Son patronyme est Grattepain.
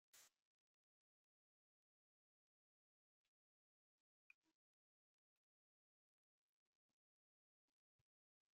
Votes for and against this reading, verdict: 0, 2, rejected